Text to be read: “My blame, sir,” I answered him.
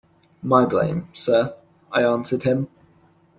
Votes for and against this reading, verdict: 2, 0, accepted